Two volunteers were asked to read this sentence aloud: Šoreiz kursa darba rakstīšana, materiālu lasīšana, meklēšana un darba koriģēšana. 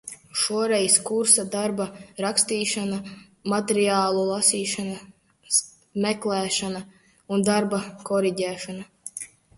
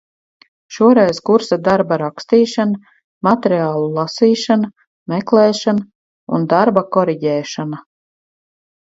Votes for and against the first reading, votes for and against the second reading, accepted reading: 0, 2, 4, 0, second